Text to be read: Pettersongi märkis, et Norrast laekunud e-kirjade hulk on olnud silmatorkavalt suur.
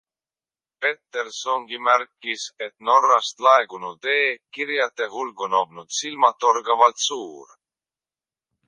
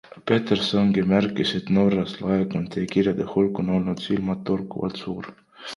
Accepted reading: first